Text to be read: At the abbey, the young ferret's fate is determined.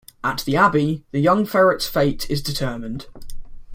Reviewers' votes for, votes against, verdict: 2, 0, accepted